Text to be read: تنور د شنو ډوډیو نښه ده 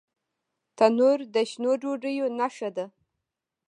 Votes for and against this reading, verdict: 2, 0, accepted